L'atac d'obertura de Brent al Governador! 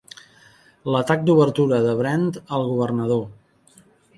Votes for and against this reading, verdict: 2, 0, accepted